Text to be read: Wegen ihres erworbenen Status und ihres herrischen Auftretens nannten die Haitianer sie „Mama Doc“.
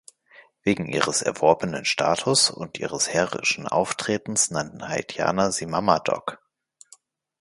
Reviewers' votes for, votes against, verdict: 0, 2, rejected